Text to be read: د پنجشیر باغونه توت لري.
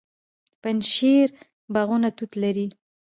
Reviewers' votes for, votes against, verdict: 2, 0, accepted